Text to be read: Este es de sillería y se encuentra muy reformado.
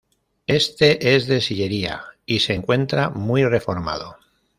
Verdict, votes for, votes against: accepted, 2, 0